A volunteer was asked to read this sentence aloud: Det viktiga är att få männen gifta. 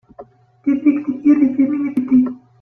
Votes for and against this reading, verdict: 0, 2, rejected